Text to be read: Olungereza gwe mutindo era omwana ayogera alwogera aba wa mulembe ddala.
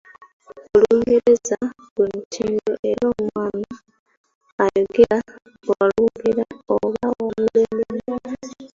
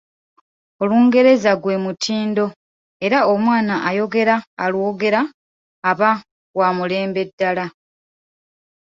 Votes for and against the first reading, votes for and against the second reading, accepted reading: 0, 3, 2, 0, second